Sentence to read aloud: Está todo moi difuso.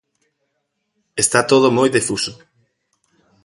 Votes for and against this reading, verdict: 2, 0, accepted